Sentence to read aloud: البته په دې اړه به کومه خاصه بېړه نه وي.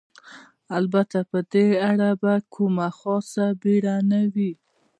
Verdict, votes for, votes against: accepted, 2, 0